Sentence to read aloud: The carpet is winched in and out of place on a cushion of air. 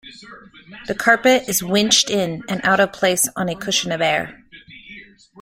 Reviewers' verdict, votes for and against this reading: accepted, 2, 0